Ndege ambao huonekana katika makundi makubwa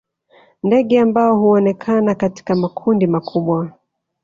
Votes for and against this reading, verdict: 0, 2, rejected